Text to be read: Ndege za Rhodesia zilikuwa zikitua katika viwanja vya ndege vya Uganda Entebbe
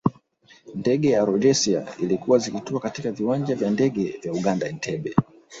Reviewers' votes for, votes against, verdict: 1, 2, rejected